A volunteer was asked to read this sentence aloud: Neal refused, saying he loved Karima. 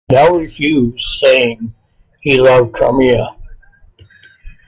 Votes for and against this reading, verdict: 1, 2, rejected